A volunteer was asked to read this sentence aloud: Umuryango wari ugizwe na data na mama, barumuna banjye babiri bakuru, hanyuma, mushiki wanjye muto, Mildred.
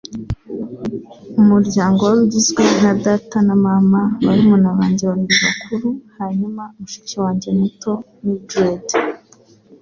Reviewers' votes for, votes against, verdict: 2, 0, accepted